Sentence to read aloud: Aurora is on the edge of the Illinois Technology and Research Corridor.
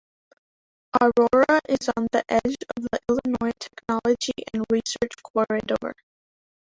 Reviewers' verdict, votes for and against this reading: rejected, 1, 2